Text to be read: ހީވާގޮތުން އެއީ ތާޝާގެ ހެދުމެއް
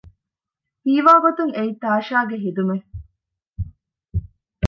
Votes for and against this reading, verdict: 1, 2, rejected